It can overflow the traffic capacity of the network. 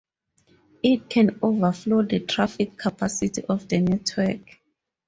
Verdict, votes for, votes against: accepted, 4, 0